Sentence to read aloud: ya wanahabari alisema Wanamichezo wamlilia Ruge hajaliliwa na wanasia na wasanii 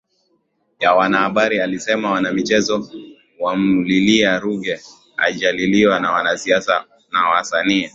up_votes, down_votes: 3, 0